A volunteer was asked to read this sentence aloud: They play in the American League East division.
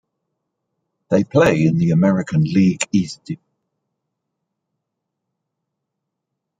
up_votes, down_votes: 1, 2